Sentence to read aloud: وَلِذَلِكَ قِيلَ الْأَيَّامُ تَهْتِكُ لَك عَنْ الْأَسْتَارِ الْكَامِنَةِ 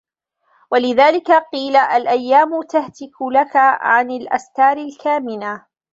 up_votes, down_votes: 2, 1